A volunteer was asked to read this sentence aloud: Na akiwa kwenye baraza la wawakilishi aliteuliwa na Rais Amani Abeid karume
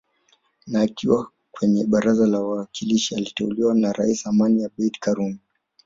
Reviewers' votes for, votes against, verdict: 4, 5, rejected